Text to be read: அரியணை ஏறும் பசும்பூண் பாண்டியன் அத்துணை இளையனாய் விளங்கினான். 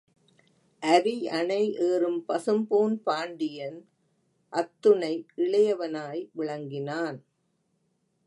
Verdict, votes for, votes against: rejected, 0, 3